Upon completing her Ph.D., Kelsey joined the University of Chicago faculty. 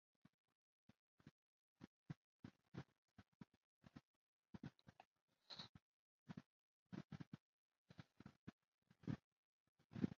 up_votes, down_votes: 0, 2